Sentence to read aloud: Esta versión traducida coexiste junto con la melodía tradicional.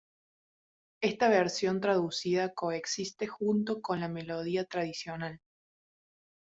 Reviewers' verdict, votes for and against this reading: accepted, 2, 1